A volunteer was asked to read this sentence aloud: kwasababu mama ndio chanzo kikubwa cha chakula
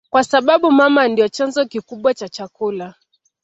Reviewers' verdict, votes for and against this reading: accepted, 2, 0